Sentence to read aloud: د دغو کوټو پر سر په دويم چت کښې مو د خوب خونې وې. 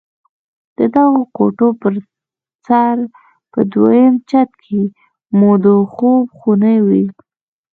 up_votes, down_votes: 0, 2